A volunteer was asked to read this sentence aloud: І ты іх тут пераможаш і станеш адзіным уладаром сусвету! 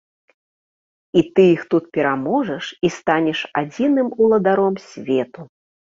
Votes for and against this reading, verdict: 0, 2, rejected